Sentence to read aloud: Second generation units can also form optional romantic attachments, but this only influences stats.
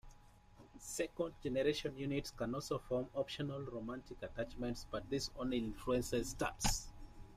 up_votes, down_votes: 0, 2